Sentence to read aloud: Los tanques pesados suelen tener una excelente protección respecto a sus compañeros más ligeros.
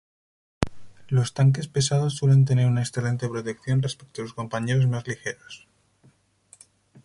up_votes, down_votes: 0, 2